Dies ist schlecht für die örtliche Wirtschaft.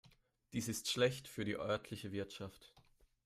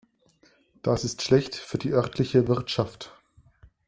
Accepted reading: first